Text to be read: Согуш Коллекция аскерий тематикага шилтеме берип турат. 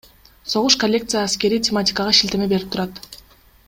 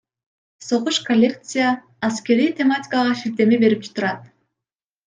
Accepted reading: second